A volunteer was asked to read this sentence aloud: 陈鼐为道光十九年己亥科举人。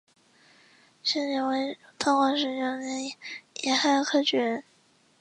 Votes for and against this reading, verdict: 2, 1, accepted